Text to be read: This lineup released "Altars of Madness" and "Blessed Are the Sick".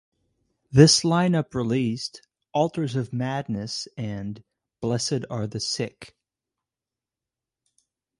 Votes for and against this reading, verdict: 2, 2, rejected